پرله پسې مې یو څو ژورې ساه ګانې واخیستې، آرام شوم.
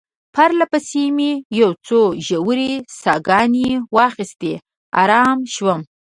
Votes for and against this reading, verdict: 2, 0, accepted